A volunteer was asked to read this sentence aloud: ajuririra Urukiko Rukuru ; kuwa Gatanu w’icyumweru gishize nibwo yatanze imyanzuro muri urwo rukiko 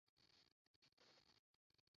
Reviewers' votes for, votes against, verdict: 0, 2, rejected